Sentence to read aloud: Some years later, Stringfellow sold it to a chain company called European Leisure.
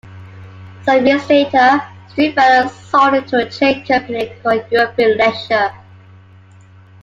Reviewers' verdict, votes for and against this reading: rejected, 1, 2